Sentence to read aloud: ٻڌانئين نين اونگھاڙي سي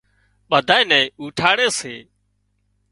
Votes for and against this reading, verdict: 0, 2, rejected